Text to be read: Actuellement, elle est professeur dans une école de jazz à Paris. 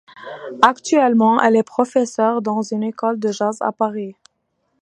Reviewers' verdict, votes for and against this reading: accepted, 2, 0